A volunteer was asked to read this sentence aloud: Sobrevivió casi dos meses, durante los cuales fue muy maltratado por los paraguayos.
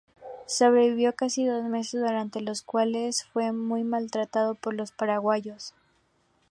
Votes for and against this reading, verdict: 2, 0, accepted